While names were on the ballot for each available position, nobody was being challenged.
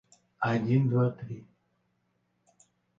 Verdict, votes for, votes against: rejected, 0, 2